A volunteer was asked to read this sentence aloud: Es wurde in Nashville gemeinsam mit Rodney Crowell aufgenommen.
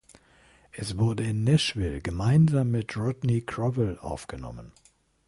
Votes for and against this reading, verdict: 1, 2, rejected